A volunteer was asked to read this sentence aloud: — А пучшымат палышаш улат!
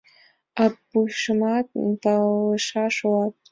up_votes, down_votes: 1, 6